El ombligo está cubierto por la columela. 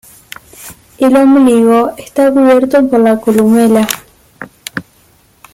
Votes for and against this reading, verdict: 2, 1, accepted